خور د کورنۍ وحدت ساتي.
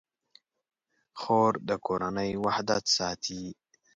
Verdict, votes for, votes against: accepted, 2, 0